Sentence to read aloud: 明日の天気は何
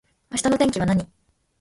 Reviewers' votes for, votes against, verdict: 2, 0, accepted